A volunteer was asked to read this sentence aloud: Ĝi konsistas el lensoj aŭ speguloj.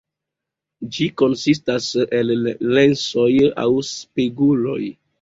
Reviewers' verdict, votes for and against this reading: rejected, 1, 2